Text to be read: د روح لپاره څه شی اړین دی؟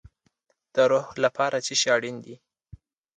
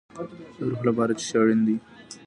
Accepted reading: first